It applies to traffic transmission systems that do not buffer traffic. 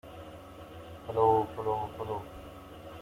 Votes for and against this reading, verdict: 0, 2, rejected